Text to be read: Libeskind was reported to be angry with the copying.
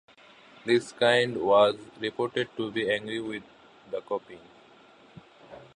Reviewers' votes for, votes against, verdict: 2, 0, accepted